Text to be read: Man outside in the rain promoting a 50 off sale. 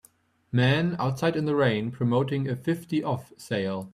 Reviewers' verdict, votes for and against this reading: rejected, 0, 2